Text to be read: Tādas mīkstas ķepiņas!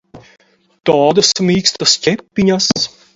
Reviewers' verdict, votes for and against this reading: accepted, 4, 0